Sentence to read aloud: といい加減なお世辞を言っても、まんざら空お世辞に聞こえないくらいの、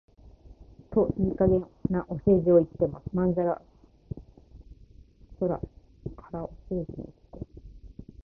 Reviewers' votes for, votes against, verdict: 0, 7, rejected